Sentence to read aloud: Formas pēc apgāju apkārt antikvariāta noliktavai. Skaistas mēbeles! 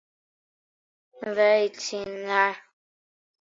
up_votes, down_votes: 0, 2